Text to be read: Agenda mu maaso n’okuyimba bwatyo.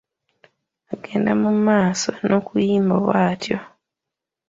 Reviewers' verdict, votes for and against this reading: accepted, 2, 0